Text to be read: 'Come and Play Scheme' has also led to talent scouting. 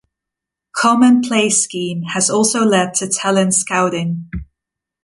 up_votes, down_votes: 2, 0